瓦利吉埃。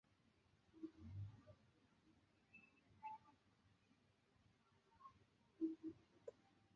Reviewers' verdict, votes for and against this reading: rejected, 0, 3